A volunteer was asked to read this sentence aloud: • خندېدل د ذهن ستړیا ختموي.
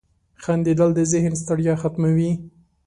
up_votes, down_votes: 2, 0